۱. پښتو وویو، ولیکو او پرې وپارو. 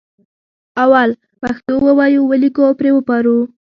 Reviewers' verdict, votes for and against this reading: rejected, 0, 2